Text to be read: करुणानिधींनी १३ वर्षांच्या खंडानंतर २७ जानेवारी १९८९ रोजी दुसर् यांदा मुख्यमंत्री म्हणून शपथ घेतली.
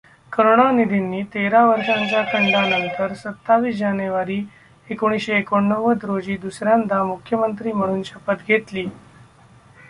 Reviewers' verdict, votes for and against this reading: rejected, 0, 2